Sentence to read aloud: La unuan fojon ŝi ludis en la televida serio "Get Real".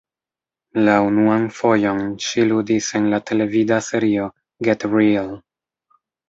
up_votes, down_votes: 1, 2